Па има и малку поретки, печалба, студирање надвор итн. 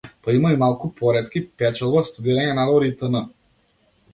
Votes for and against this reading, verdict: 1, 2, rejected